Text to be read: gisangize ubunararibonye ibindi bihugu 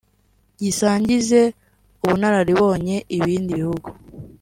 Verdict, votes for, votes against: accepted, 2, 1